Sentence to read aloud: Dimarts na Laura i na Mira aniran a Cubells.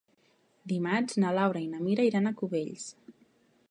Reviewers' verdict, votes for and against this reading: rejected, 1, 2